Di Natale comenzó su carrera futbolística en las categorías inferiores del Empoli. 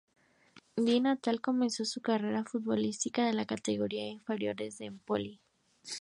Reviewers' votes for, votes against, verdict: 0, 2, rejected